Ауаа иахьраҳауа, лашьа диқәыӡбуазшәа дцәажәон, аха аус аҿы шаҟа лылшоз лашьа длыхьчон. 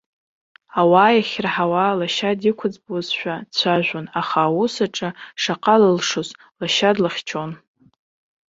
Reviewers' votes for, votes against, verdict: 0, 2, rejected